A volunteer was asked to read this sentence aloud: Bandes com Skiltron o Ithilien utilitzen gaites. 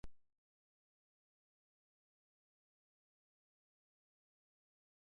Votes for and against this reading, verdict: 0, 2, rejected